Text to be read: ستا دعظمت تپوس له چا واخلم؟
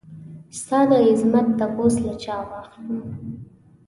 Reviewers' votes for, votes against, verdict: 2, 0, accepted